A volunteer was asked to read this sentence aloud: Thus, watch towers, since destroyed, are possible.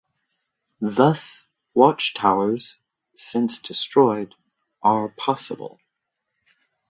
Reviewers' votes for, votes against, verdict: 2, 0, accepted